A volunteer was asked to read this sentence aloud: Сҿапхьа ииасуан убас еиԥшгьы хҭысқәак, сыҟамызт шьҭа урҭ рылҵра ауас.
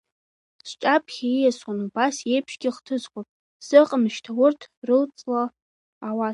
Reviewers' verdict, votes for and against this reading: rejected, 1, 2